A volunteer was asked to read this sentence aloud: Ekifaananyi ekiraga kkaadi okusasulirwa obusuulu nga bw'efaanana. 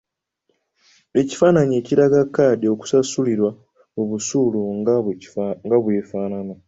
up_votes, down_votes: 1, 2